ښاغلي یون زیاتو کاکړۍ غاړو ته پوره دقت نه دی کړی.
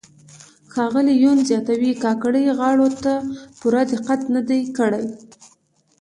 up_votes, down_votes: 2, 0